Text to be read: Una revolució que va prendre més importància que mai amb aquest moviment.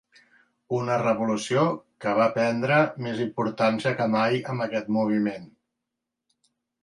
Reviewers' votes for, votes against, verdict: 2, 0, accepted